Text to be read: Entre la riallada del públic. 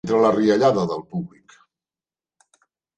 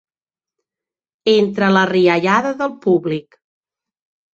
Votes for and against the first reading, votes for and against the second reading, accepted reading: 0, 2, 2, 0, second